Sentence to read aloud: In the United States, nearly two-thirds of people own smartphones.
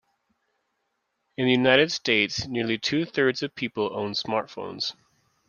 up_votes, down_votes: 2, 0